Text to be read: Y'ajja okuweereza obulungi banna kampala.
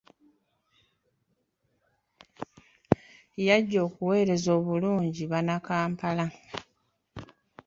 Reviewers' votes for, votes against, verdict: 2, 1, accepted